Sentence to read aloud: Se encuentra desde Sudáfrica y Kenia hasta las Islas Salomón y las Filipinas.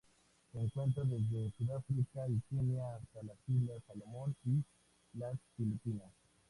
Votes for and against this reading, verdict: 2, 0, accepted